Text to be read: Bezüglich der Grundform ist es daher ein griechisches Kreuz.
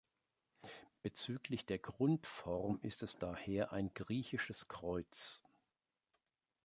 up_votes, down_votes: 2, 0